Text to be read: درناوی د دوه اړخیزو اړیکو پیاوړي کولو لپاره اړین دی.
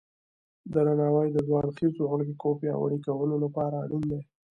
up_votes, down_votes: 1, 2